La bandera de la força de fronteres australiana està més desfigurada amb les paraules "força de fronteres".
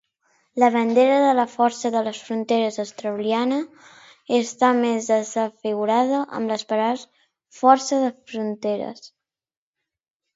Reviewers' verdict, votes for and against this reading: rejected, 0, 2